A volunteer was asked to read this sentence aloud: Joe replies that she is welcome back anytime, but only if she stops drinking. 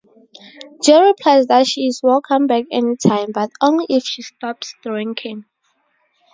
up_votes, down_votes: 2, 0